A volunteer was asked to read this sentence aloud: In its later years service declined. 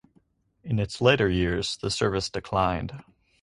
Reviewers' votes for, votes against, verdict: 0, 4, rejected